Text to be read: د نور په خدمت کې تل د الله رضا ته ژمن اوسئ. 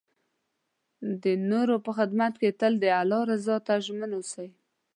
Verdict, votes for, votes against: rejected, 1, 2